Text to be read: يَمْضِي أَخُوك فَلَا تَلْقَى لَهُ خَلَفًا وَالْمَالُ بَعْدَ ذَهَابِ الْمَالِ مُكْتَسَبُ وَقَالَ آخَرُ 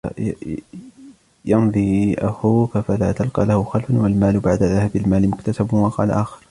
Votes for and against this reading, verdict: 0, 2, rejected